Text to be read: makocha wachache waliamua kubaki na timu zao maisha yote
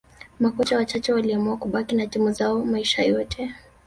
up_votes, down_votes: 4, 0